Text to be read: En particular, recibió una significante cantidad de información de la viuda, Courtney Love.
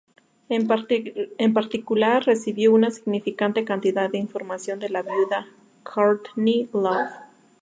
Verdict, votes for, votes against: rejected, 2, 2